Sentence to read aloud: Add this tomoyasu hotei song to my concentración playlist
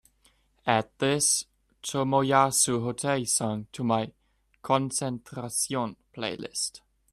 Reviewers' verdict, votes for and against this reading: accepted, 3, 0